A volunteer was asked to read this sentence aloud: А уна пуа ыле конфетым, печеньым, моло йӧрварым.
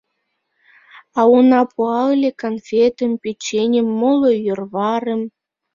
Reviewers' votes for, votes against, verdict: 2, 0, accepted